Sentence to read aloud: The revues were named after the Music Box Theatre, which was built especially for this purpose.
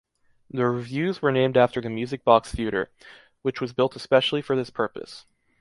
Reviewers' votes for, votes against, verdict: 2, 0, accepted